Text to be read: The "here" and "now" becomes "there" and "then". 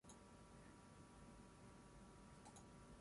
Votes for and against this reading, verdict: 0, 6, rejected